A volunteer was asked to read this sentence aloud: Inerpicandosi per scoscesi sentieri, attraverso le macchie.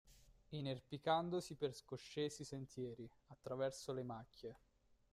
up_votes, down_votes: 1, 3